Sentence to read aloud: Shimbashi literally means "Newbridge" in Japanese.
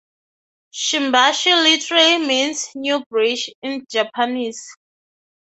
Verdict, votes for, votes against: accepted, 3, 0